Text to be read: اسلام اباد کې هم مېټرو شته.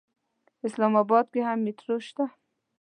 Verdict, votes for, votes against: accepted, 2, 0